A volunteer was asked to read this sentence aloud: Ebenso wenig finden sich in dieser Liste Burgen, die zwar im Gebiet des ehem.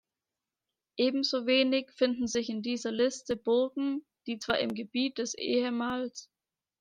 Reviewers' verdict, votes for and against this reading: rejected, 1, 2